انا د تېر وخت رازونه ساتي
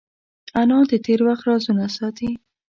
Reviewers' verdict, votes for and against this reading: accepted, 2, 0